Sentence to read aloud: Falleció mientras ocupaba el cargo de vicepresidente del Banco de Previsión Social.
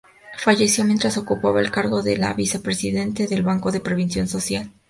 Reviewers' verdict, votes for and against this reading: rejected, 0, 2